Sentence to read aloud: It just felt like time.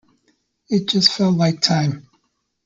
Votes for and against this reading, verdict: 2, 0, accepted